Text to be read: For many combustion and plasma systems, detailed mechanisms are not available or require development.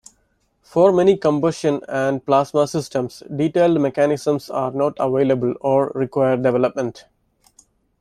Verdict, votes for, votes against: accepted, 2, 0